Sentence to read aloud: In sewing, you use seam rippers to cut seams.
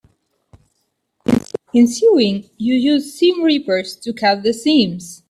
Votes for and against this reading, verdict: 2, 3, rejected